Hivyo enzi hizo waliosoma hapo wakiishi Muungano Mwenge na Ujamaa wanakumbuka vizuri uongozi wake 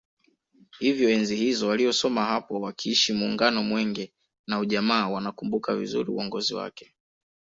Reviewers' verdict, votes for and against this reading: rejected, 0, 2